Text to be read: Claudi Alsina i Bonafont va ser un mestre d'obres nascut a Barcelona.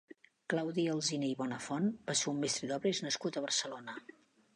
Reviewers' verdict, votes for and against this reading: rejected, 1, 2